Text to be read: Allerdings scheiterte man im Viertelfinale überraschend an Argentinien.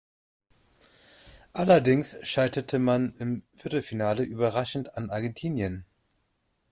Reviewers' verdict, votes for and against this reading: accepted, 2, 0